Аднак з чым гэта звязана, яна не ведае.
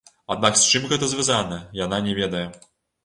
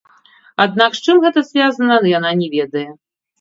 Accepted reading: first